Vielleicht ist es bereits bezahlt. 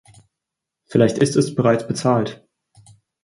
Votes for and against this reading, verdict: 4, 0, accepted